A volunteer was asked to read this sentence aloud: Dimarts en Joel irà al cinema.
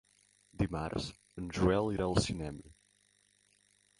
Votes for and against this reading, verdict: 2, 0, accepted